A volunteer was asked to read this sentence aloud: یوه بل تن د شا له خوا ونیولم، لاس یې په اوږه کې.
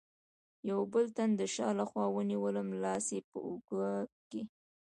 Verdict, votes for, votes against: rejected, 1, 2